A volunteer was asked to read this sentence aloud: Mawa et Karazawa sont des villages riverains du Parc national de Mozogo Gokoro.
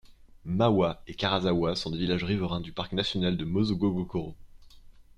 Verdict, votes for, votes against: accepted, 2, 0